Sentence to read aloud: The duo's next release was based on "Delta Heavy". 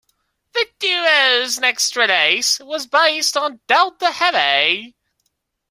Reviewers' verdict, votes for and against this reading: accepted, 2, 1